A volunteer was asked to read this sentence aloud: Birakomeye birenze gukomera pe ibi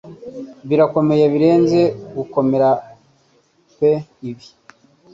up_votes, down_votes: 2, 0